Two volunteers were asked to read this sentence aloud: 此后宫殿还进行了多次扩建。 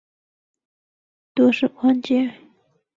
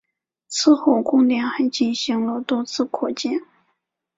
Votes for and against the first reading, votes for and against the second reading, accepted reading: 0, 3, 2, 0, second